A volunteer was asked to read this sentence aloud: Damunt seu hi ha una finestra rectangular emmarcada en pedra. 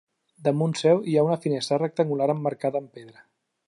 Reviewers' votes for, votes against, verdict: 2, 0, accepted